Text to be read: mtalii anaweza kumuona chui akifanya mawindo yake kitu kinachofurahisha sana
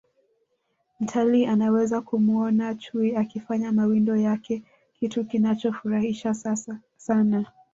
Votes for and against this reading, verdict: 1, 2, rejected